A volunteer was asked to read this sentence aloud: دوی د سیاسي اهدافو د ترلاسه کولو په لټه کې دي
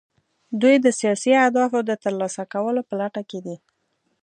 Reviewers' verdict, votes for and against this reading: accepted, 2, 0